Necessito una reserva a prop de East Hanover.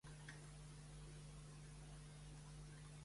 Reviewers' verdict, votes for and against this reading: rejected, 1, 2